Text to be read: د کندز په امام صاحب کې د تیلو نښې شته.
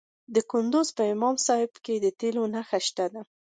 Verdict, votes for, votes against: rejected, 1, 2